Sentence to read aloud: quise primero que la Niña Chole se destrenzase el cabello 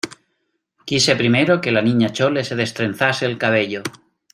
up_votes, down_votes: 2, 0